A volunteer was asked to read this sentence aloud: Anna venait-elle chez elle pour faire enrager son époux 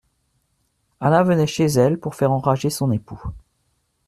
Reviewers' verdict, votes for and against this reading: rejected, 1, 2